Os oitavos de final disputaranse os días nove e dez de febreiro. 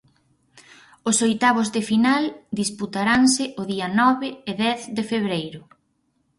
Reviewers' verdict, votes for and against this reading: rejected, 2, 4